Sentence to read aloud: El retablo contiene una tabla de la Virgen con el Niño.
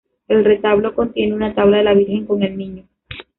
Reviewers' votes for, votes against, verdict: 0, 2, rejected